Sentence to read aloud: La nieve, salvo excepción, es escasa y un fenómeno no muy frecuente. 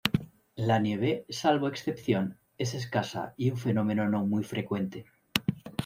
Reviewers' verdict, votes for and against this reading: rejected, 1, 2